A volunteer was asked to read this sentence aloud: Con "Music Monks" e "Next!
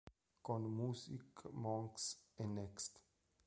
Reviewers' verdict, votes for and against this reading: rejected, 1, 2